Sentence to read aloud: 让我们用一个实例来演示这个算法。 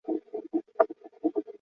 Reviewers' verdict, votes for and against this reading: rejected, 1, 4